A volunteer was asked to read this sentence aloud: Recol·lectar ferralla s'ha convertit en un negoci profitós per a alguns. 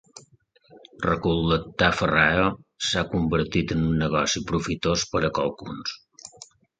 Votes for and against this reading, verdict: 0, 2, rejected